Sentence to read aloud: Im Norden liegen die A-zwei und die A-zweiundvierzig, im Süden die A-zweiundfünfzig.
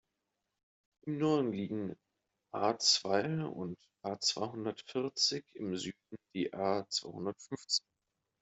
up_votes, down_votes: 0, 2